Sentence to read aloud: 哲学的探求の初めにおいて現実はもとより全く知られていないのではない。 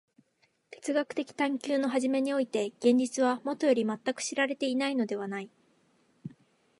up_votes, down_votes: 2, 0